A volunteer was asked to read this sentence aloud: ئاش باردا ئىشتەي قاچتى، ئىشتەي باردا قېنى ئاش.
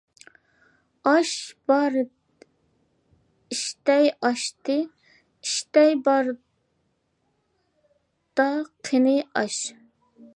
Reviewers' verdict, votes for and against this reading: rejected, 0, 2